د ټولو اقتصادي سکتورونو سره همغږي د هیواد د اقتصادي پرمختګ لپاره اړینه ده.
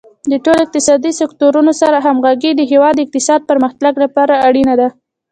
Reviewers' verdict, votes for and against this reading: rejected, 0, 2